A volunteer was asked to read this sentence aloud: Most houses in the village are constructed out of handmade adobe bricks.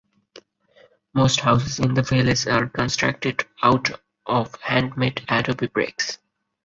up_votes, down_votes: 2, 2